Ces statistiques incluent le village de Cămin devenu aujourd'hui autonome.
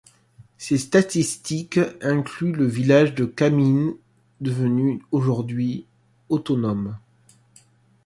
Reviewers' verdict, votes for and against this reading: accepted, 2, 0